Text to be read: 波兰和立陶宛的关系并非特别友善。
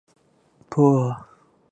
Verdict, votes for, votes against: rejected, 1, 3